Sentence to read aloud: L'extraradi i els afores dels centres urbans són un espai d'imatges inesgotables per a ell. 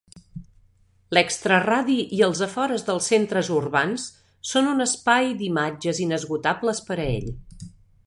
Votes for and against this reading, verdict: 3, 0, accepted